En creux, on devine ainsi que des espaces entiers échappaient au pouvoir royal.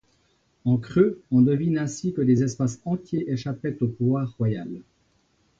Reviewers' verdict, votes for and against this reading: rejected, 1, 2